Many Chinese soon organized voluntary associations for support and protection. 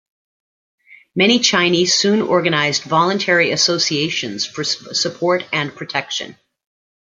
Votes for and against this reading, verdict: 0, 2, rejected